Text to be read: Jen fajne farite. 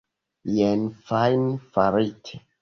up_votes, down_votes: 0, 2